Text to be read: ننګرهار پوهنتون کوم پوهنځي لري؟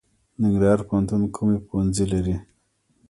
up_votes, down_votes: 1, 2